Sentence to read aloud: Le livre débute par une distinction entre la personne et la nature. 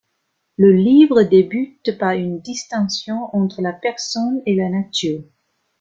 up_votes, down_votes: 2, 0